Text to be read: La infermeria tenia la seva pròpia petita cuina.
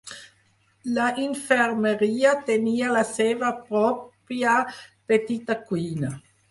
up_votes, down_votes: 4, 0